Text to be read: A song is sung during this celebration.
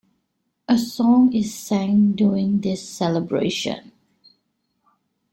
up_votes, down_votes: 0, 2